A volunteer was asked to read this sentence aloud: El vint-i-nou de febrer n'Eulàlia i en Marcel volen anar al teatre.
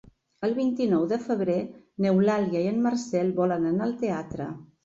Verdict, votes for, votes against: accepted, 3, 0